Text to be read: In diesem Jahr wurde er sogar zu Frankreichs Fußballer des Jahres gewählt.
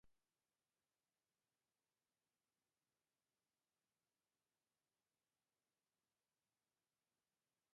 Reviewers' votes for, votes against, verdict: 0, 2, rejected